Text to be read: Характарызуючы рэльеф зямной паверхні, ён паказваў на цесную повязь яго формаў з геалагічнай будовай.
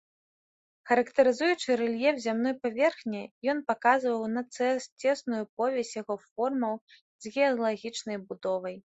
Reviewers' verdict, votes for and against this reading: rejected, 0, 2